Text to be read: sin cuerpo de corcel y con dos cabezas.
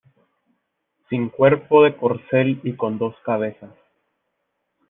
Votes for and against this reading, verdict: 2, 0, accepted